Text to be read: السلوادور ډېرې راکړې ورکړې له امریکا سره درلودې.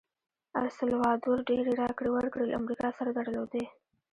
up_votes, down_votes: 0, 2